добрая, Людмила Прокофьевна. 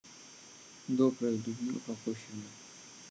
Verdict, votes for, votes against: rejected, 0, 2